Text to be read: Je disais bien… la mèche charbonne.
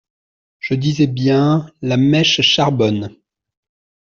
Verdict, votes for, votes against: accepted, 2, 0